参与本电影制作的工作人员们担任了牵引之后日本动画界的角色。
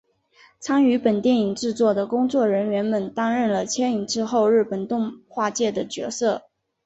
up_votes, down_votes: 2, 0